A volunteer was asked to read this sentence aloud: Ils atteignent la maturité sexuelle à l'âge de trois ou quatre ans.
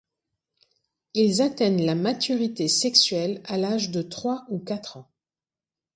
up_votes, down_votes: 2, 0